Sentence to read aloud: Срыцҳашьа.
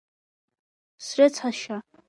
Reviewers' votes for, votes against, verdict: 2, 0, accepted